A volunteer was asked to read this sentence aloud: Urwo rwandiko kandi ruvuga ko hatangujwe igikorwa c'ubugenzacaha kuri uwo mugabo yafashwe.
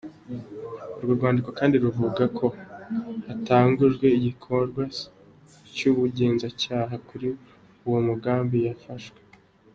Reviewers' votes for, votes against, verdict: 2, 0, accepted